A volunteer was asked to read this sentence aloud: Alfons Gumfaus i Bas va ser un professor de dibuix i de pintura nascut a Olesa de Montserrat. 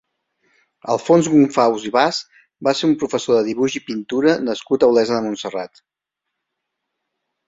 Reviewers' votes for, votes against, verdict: 1, 2, rejected